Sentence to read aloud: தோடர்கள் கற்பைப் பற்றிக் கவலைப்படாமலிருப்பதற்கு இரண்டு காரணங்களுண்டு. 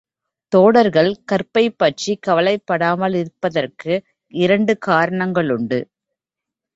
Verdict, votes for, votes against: accepted, 2, 0